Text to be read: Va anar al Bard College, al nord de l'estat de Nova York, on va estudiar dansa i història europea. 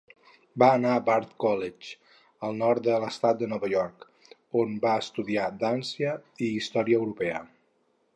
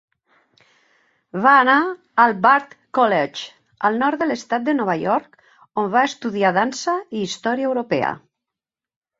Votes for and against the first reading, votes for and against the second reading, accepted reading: 2, 2, 2, 0, second